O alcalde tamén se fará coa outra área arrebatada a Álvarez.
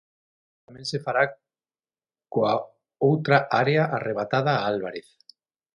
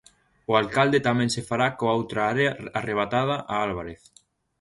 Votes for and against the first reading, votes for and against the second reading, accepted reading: 0, 6, 2, 0, second